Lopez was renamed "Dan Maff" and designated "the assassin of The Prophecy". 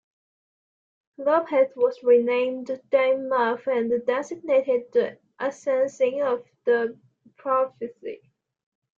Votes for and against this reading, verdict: 0, 2, rejected